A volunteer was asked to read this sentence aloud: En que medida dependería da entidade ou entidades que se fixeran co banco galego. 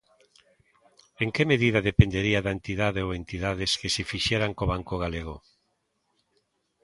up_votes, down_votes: 2, 0